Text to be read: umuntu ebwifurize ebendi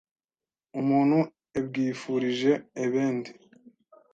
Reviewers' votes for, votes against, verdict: 1, 2, rejected